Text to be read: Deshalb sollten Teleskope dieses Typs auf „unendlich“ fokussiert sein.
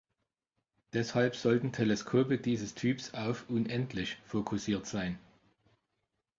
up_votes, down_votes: 2, 0